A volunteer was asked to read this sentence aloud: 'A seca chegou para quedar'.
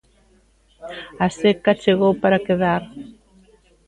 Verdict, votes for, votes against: accepted, 2, 0